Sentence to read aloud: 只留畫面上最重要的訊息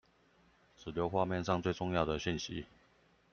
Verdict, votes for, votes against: accepted, 2, 0